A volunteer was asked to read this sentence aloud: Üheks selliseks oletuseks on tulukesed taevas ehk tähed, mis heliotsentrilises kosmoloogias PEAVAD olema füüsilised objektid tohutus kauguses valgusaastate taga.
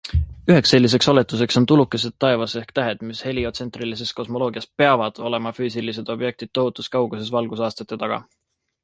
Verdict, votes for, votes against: accepted, 2, 0